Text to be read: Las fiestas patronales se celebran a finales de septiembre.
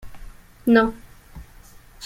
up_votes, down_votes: 0, 2